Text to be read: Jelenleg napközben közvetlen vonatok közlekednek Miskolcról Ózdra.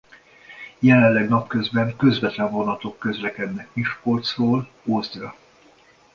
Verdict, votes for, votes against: accepted, 2, 0